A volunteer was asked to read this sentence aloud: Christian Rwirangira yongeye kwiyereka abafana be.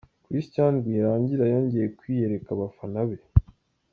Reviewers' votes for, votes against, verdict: 2, 0, accepted